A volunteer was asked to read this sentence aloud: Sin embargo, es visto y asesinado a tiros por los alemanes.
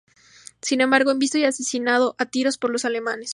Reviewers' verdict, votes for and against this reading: accepted, 2, 0